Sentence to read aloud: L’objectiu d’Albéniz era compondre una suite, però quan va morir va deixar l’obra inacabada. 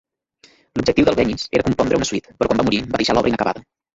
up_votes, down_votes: 0, 2